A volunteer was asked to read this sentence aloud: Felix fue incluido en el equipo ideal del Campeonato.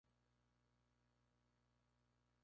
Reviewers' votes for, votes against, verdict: 2, 2, rejected